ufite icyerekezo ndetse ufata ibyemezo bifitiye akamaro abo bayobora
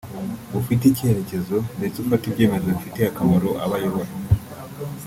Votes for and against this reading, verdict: 0, 2, rejected